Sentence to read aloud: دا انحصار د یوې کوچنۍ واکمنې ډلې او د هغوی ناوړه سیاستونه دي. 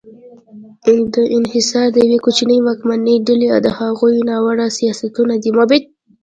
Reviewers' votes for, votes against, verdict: 1, 2, rejected